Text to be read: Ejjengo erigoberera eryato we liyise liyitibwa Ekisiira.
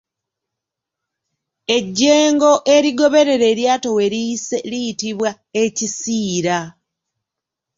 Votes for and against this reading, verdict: 2, 0, accepted